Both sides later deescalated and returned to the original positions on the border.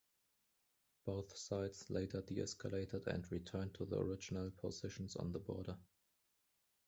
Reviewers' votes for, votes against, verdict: 2, 0, accepted